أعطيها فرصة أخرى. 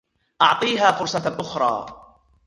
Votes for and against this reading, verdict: 0, 2, rejected